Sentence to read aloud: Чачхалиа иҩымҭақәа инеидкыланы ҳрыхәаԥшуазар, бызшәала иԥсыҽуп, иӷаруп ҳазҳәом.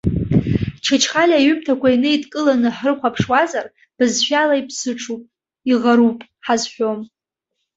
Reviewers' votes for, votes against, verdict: 0, 2, rejected